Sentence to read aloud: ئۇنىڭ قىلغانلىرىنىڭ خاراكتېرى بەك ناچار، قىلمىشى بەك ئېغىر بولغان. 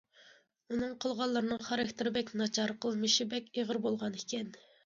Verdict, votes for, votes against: rejected, 1, 2